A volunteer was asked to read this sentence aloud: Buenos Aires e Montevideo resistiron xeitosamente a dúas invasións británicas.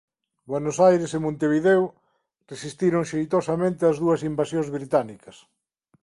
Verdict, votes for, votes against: rejected, 0, 2